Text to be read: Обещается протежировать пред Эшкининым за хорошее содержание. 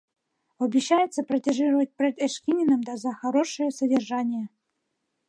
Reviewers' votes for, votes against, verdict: 0, 2, rejected